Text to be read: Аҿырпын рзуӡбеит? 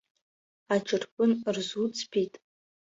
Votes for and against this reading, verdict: 2, 0, accepted